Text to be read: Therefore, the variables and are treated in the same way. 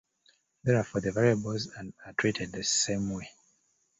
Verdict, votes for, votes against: rejected, 0, 2